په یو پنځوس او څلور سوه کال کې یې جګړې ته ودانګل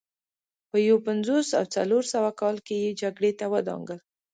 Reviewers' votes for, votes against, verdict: 2, 1, accepted